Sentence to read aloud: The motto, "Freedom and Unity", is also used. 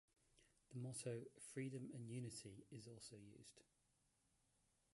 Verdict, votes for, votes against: rejected, 1, 3